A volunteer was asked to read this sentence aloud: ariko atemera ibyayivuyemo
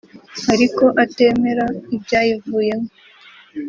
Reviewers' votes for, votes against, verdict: 3, 0, accepted